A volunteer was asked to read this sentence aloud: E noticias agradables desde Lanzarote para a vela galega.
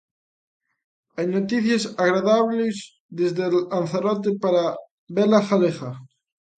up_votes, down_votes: 0, 2